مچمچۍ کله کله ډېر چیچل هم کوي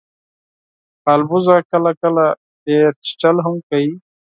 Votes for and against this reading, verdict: 2, 4, rejected